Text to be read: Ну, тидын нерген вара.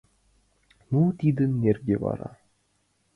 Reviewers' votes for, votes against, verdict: 2, 1, accepted